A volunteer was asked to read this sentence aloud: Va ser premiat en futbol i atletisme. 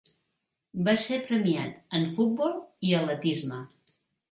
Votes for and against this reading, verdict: 2, 1, accepted